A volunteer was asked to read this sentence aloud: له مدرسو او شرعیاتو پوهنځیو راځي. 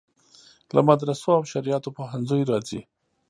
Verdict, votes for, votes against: rejected, 1, 2